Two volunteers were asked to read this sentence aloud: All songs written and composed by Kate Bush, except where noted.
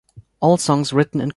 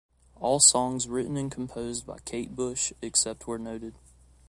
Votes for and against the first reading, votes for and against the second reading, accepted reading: 0, 2, 2, 0, second